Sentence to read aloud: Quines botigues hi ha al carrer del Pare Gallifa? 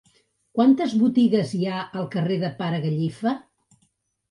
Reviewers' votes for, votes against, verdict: 0, 2, rejected